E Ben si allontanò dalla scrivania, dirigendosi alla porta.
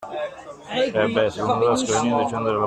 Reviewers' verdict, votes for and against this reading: rejected, 0, 2